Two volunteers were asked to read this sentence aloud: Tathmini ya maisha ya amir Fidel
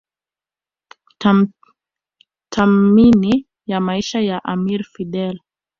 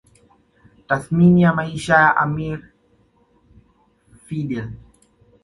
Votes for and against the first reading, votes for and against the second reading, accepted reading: 1, 2, 2, 1, second